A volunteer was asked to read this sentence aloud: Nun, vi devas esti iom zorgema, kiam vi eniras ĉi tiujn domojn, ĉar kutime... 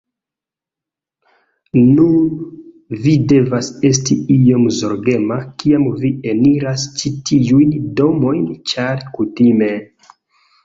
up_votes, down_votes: 2, 0